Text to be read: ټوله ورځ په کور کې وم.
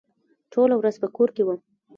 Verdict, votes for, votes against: rejected, 1, 2